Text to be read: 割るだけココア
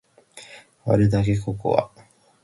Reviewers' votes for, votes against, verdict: 4, 0, accepted